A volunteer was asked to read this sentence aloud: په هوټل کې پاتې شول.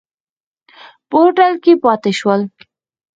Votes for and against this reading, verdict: 4, 2, accepted